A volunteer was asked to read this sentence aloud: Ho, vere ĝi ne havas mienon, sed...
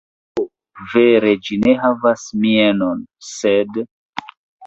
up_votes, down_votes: 0, 2